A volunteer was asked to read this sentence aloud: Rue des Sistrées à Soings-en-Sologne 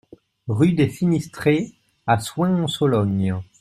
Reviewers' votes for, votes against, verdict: 0, 2, rejected